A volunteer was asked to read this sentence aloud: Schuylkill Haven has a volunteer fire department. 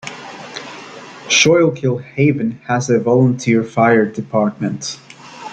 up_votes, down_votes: 2, 1